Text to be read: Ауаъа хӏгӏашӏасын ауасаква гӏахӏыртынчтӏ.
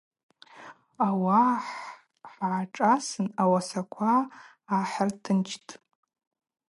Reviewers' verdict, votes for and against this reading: accepted, 2, 0